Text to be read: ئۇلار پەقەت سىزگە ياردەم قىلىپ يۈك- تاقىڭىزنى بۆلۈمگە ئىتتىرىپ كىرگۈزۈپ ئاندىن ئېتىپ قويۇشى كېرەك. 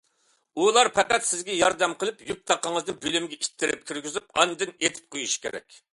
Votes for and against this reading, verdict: 2, 0, accepted